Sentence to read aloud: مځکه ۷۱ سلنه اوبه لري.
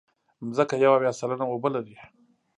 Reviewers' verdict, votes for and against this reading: rejected, 0, 2